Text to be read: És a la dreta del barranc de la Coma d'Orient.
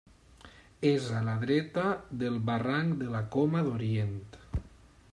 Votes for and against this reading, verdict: 3, 0, accepted